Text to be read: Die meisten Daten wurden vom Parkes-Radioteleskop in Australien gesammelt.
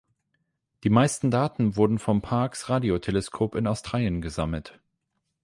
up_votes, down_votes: 8, 0